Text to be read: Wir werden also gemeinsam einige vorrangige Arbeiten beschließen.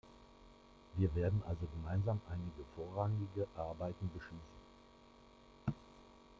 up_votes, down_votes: 2, 1